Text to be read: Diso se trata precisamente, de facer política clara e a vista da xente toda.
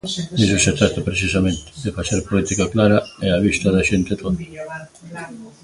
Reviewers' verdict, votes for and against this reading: rejected, 1, 2